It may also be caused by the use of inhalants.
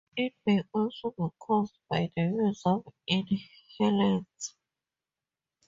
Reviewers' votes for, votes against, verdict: 4, 0, accepted